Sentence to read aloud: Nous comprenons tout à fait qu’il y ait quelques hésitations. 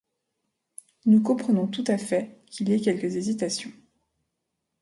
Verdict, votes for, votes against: accepted, 2, 0